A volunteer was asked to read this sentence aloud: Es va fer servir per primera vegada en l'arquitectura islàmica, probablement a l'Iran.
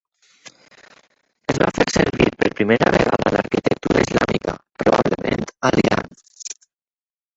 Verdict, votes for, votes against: rejected, 0, 4